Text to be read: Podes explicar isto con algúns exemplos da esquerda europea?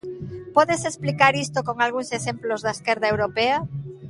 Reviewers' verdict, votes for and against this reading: accepted, 2, 0